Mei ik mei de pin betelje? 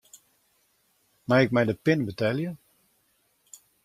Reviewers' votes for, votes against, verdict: 2, 0, accepted